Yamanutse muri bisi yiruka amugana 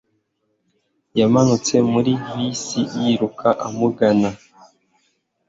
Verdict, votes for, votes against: accepted, 3, 0